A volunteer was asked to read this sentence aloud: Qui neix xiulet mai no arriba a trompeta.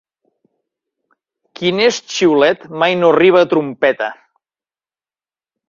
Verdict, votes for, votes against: accepted, 2, 0